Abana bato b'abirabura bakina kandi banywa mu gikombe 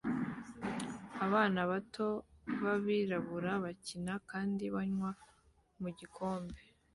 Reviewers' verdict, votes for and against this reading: accepted, 2, 0